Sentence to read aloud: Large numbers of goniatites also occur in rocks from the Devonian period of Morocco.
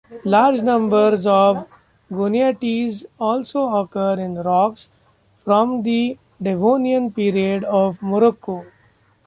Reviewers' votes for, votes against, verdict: 1, 2, rejected